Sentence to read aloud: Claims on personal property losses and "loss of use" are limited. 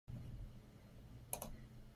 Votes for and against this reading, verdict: 0, 3, rejected